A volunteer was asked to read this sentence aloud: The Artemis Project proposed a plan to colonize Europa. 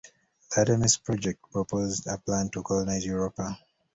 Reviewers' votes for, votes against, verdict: 2, 0, accepted